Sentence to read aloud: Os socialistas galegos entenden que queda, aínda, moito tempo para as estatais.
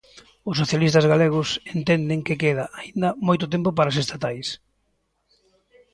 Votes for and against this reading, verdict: 2, 0, accepted